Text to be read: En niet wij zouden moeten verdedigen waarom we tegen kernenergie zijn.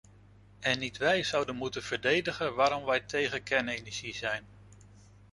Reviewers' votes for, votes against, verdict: 1, 2, rejected